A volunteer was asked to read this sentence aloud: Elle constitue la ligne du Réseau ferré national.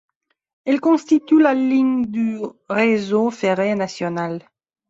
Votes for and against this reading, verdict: 2, 0, accepted